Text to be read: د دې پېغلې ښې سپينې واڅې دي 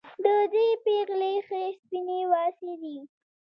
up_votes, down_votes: 2, 0